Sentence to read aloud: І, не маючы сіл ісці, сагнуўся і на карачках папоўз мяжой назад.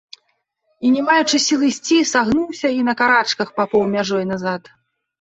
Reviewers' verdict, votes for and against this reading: rejected, 0, 2